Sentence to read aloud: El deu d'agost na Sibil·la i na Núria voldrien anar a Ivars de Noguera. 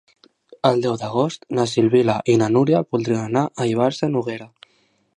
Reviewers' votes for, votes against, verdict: 1, 2, rejected